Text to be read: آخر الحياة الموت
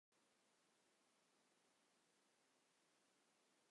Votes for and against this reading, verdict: 1, 2, rejected